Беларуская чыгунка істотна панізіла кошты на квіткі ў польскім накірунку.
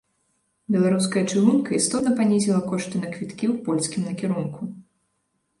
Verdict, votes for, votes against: accepted, 2, 0